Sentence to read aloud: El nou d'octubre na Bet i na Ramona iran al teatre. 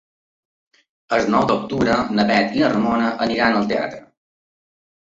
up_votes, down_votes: 0, 3